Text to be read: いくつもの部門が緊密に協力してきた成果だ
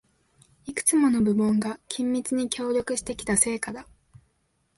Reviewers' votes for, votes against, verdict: 2, 0, accepted